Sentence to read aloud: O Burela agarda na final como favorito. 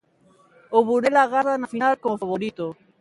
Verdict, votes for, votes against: rejected, 1, 2